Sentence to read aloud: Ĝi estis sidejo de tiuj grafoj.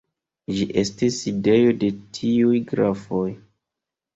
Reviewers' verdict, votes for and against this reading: accepted, 2, 0